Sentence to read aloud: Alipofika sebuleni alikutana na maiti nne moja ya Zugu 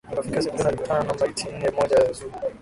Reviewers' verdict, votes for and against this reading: rejected, 1, 6